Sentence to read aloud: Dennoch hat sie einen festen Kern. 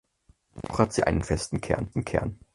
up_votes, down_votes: 0, 4